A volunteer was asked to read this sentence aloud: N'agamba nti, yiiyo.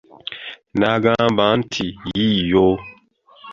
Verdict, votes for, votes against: accepted, 2, 0